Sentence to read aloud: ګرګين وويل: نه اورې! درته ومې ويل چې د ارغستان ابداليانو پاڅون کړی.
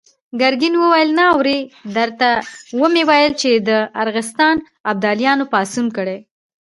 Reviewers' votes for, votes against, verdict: 2, 1, accepted